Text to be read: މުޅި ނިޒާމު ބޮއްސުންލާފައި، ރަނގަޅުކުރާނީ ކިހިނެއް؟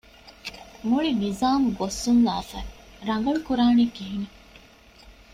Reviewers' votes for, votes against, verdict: 2, 0, accepted